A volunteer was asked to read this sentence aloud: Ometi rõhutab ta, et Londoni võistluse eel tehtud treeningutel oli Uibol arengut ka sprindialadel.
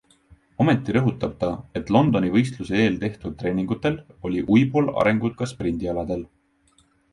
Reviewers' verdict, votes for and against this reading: accepted, 2, 1